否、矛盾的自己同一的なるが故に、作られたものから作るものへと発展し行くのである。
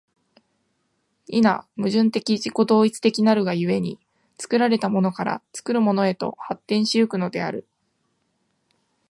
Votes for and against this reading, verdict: 5, 0, accepted